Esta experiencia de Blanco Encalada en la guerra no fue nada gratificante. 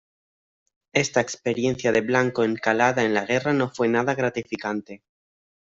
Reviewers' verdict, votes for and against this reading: accepted, 2, 0